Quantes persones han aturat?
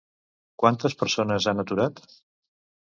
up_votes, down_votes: 2, 0